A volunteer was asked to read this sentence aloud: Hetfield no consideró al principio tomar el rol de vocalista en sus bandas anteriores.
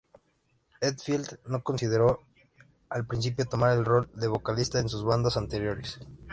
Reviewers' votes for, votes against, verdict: 3, 0, accepted